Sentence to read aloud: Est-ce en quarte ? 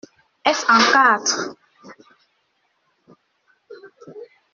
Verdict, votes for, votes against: rejected, 0, 2